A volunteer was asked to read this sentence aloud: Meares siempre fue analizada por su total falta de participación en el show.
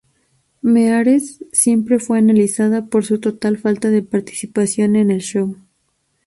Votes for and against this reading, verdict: 2, 0, accepted